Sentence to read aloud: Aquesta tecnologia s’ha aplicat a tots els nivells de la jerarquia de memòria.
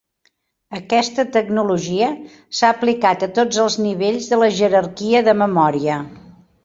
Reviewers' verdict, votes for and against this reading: accepted, 4, 0